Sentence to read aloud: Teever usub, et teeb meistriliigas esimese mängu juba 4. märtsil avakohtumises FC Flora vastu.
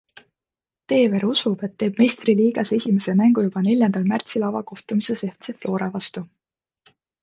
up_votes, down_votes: 0, 2